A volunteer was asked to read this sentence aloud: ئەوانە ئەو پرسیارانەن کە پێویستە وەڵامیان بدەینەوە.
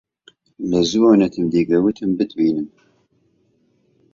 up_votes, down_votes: 0, 3